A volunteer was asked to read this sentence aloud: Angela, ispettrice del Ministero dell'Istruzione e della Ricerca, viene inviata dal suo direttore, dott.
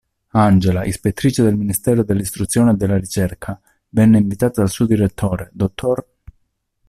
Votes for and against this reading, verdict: 0, 2, rejected